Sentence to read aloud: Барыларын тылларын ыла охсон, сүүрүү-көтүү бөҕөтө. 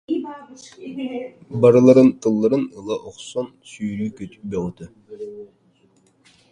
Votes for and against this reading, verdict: 0, 2, rejected